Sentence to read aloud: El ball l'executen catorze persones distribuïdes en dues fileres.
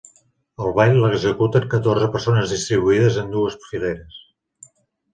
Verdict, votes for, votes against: rejected, 1, 2